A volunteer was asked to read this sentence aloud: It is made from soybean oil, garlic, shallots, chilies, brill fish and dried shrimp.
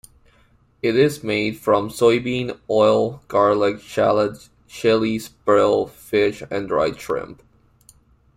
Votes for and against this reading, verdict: 2, 0, accepted